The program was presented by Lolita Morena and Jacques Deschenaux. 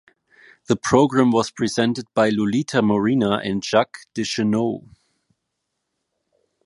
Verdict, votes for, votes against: accepted, 3, 1